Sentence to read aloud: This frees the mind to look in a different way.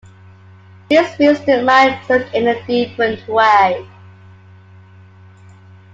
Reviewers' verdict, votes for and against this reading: accepted, 2, 1